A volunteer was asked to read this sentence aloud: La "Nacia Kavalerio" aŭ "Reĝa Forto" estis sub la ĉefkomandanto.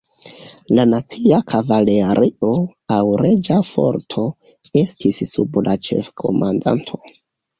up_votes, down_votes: 2, 1